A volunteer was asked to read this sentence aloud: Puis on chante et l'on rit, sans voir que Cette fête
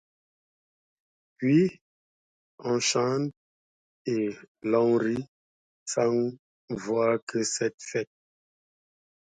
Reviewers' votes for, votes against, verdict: 2, 0, accepted